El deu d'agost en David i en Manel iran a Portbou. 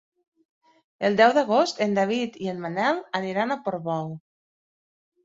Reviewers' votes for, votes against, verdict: 1, 3, rejected